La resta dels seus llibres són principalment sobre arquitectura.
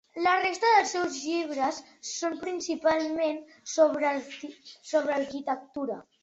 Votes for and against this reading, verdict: 4, 1, accepted